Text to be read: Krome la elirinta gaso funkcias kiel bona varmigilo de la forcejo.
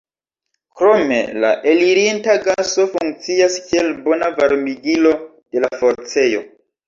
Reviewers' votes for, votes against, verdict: 0, 2, rejected